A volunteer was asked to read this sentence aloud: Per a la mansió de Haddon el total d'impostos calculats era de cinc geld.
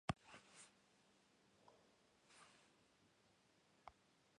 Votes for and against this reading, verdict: 0, 3, rejected